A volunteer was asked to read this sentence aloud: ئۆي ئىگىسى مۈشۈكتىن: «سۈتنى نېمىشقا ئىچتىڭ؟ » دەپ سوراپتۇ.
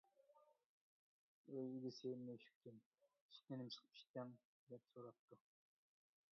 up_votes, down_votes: 0, 2